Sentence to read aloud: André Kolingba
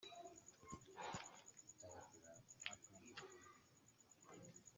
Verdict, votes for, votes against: rejected, 0, 2